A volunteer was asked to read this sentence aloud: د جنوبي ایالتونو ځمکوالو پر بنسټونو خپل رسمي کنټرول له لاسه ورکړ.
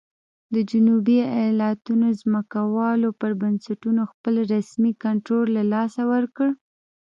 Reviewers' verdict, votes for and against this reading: rejected, 0, 2